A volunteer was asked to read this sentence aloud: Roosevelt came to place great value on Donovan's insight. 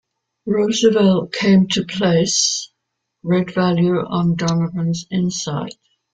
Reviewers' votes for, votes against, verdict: 2, 0, accepted